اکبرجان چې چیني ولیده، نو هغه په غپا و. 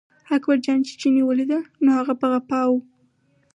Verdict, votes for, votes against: accepted, 4, 2